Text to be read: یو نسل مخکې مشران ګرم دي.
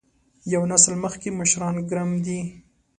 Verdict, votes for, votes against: accepted, 3, 0